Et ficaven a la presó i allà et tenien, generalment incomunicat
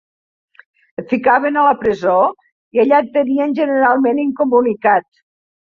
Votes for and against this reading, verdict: 2, 0, accepted